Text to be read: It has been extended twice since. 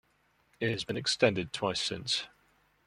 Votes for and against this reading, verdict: 3, 0, accepted